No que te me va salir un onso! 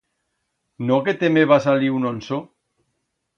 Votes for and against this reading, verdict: 2, 0, accepted